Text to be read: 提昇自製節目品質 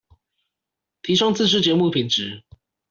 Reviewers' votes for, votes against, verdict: 2, 0, accepted